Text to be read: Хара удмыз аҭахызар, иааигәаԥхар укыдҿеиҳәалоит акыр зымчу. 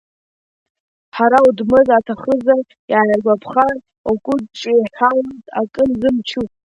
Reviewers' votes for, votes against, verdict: 0, 2, rejected